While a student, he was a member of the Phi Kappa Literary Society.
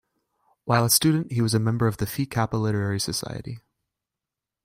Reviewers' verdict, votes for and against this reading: rejected, 0, 2